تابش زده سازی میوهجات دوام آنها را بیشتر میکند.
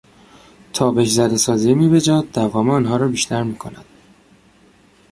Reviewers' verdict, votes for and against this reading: accepted, 2, 0